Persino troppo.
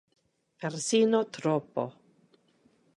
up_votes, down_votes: 2, 0